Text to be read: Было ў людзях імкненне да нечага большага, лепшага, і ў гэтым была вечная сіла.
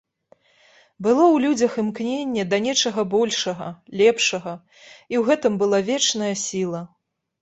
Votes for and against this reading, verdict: 2, 0, accepted